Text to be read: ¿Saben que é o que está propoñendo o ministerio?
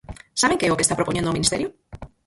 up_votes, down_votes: 0, 4